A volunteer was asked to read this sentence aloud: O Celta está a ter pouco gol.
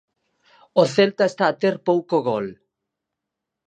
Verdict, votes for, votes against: accepted, 4, 0